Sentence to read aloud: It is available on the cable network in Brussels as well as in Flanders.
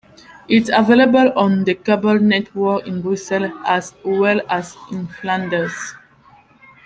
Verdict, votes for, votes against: accepted, 2, 1